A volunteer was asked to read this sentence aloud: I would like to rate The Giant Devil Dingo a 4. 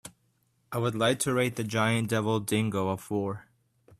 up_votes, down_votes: 0, 2